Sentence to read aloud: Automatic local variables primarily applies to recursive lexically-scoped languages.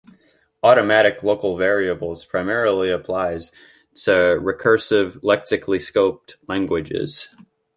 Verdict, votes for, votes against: accepted, 2, 0